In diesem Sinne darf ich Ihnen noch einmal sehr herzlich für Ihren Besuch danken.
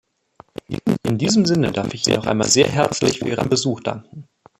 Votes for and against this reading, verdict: 0, 2, rejected